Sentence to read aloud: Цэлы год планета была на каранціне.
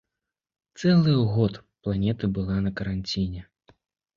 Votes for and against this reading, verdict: 2, 0, accepted